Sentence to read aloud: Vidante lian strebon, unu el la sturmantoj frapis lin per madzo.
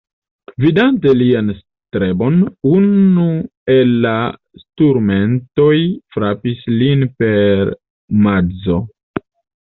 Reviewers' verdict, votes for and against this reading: rejected, 2, 3